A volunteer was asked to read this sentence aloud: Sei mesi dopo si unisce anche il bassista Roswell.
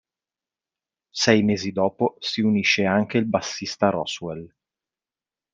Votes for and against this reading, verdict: 2, 0, accepted